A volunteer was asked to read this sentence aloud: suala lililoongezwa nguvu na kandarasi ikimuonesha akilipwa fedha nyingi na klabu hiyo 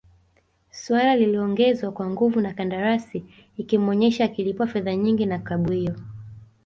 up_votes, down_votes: 2, 1